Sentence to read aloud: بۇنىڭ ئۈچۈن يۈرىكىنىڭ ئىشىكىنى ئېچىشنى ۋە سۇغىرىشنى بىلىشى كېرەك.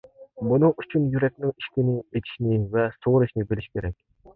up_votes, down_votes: 0, 2